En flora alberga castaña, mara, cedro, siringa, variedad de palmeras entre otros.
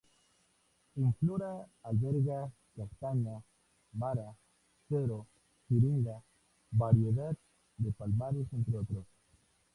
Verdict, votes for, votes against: rejected, 0, 2